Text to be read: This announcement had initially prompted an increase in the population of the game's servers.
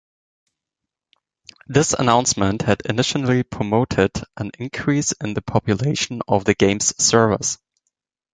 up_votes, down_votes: 1, 2